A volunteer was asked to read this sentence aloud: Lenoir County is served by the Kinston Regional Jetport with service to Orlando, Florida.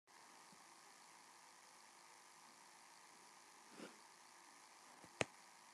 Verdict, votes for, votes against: rejected, 0, 2